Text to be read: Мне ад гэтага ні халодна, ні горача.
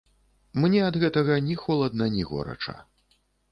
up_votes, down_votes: 1, 2